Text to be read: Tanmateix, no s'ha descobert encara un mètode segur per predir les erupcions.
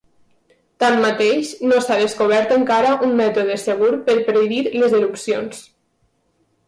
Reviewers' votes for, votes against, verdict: 3, 0, accepted